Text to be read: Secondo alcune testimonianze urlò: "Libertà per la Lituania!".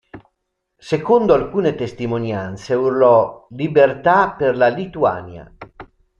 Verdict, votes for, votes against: accepted, 2, 0